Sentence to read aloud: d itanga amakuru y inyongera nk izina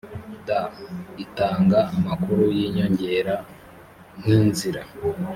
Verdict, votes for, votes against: rejected, 0, 2